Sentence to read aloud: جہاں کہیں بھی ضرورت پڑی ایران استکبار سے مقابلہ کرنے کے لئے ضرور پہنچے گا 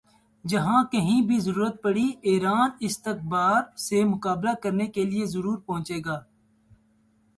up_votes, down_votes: 2, 0